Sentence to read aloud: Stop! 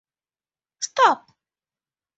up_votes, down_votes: 2, 0